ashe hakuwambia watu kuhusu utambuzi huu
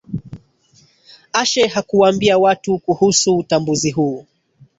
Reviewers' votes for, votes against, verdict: 0, 2, rejected